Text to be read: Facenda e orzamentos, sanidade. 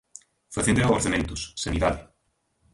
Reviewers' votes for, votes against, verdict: 0, 2, rejected